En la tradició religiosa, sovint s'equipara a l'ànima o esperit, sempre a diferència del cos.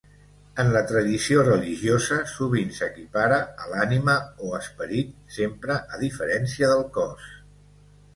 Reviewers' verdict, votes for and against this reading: accepted, 2, 1